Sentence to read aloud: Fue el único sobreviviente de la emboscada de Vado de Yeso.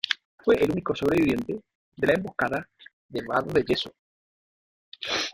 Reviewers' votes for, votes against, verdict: 0, 2, rejected